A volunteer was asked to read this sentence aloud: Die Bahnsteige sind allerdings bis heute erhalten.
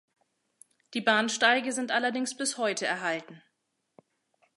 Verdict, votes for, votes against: accepted, 2, 0